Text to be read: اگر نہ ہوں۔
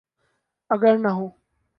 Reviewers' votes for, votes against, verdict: 2, 0, accepted